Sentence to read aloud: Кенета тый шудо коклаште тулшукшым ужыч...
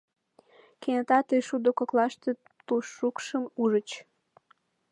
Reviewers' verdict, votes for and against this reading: rejected, 1, 2